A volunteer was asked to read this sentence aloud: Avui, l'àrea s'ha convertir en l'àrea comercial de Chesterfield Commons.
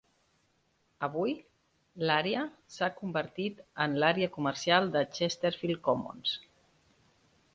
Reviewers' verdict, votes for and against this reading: rejected, 0, 2